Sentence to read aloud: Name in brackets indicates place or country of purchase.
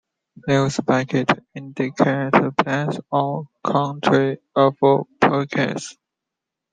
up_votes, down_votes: 1, 2